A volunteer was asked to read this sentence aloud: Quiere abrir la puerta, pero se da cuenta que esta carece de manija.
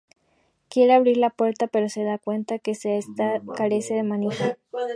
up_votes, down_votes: 0, 2